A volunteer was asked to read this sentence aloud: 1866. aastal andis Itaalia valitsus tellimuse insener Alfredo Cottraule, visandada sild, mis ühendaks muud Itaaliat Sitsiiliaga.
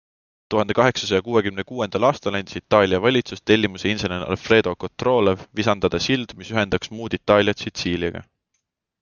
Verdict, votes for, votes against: rejected, 0, 2